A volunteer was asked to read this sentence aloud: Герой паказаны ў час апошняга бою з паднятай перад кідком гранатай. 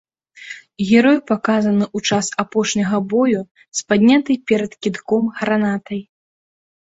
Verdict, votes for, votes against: accepted, 2, 1